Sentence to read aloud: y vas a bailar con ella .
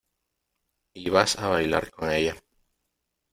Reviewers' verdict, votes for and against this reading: accepted, 2, 0